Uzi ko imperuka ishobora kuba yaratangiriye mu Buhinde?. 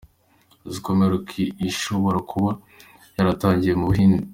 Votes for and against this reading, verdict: 2, 0, accepted